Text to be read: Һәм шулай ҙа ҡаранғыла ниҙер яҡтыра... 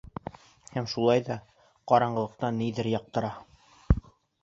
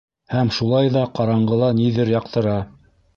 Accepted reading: second